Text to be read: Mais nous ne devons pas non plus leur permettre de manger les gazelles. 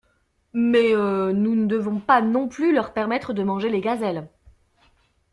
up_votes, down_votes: 0, 2